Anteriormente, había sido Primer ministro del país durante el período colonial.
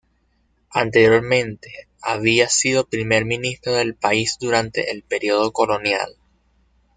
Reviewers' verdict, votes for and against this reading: accepted, 2, 0